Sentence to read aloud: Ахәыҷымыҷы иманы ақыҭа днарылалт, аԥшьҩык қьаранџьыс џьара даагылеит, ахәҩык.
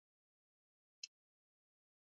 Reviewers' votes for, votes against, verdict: 0, 2, rejected